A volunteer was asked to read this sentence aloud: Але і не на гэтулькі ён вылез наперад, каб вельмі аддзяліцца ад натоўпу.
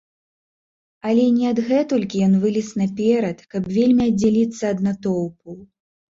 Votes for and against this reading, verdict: 0, 3, rejected